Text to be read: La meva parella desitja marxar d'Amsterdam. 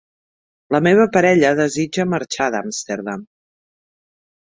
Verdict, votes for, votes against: accepted, 2, 0